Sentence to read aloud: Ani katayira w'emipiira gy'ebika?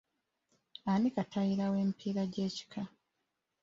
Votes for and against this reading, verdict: 0, 2, rejected